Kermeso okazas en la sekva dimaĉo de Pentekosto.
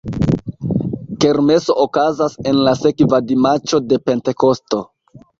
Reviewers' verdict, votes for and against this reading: accepted, 2, 1